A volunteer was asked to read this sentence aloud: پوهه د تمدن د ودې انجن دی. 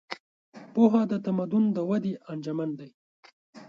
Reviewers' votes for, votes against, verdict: 1, 2, rejected